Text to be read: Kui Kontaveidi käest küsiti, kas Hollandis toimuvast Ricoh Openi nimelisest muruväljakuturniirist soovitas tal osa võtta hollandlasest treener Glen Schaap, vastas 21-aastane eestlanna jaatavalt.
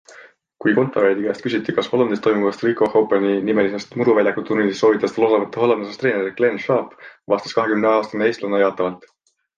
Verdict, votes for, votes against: rejected, 0, 2